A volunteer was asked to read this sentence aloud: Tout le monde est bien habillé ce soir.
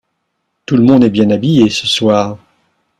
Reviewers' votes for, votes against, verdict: 2, 0, accepted